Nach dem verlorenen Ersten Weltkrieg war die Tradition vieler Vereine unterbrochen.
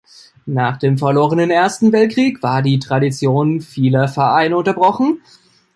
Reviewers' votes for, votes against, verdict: 2, 0, accepted